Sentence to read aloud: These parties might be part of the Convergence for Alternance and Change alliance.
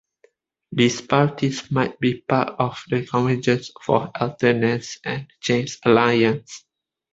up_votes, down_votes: 2, 0